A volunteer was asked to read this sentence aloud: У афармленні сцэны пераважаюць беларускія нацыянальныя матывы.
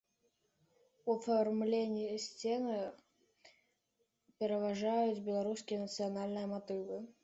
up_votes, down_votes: 1, 2